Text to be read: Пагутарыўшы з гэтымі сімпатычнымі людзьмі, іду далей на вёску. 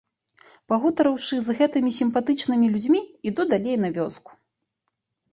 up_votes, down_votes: 1, 2